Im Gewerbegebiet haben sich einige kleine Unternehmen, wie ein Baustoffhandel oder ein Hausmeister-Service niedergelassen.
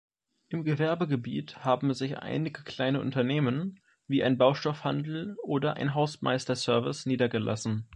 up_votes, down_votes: 2, 0